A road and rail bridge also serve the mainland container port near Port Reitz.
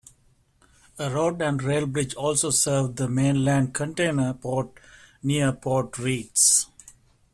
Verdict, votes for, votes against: accepted, 2, 0